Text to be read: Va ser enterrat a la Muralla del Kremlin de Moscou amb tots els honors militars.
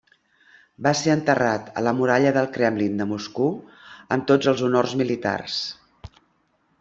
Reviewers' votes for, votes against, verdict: 1, 2, rejected